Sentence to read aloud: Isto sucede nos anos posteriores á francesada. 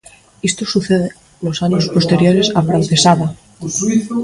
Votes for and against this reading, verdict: 0, 2, rejected